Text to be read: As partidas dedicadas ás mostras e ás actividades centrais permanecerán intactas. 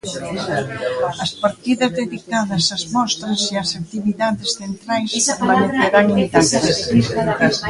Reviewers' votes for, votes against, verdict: 0, 2, rejected